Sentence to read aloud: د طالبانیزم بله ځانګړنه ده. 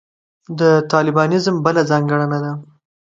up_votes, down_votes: 2, 1